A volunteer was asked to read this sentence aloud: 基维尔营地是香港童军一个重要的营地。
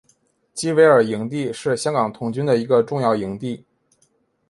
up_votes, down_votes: 4, 0